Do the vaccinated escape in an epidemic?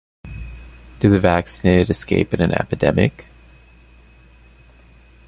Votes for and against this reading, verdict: 1, 2, rejected